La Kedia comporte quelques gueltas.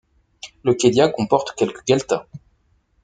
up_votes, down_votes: 1, 2